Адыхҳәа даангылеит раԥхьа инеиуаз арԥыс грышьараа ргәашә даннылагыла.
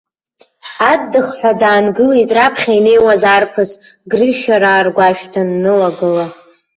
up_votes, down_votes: 0, 2